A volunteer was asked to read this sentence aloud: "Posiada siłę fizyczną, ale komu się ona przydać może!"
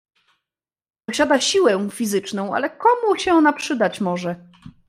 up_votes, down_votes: 1, 2